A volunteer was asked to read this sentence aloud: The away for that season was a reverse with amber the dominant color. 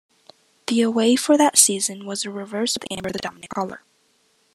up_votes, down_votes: 0, 2